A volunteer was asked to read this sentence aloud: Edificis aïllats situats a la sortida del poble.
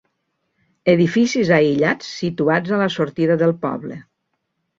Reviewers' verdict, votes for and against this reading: accepted, 2, 0